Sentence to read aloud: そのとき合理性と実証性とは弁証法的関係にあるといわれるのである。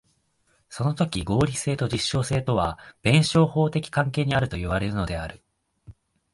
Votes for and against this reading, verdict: 2, 0, accepted